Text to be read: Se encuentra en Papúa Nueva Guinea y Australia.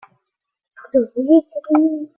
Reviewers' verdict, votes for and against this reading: rejected, 0, 2